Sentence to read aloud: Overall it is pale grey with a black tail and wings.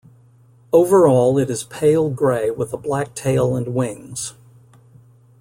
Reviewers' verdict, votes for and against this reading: accepted, 2, 0